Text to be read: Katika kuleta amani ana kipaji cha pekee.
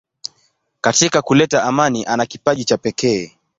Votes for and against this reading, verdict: 2, 0, accepted